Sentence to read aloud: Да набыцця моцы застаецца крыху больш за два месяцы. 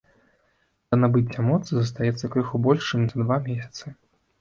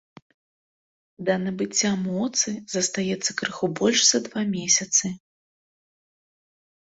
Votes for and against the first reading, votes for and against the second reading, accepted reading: 1, 2, 2, 0, second